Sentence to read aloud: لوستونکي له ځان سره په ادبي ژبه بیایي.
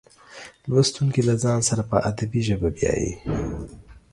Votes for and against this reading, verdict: 2, 0, accepted